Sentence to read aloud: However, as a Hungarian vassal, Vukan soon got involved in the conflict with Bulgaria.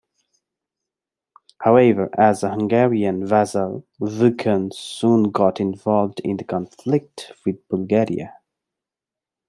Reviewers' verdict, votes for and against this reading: accepted, 2, 0